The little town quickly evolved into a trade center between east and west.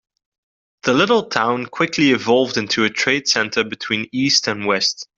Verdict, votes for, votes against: accepted, 2, 0